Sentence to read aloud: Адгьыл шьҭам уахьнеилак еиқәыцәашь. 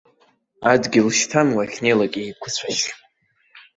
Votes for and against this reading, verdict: 2, 0, accepted